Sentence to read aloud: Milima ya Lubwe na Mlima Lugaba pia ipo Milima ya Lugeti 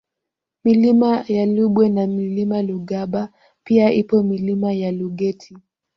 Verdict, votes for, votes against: accepted, 2, 0